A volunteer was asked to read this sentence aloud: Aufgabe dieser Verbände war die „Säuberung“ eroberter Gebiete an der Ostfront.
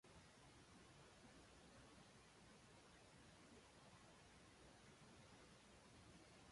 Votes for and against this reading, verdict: 0, 2, rejected